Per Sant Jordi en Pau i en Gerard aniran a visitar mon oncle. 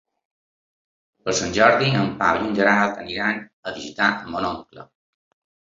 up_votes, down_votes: 4, 0